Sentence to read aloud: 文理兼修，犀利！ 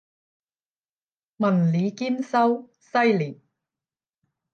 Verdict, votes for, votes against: rejected, 5, 10